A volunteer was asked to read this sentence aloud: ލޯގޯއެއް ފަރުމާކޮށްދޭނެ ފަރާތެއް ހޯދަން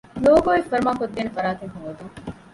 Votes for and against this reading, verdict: 1, 2, rejected